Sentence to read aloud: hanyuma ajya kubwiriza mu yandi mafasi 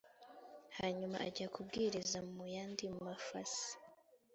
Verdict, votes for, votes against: accepted, 3, 0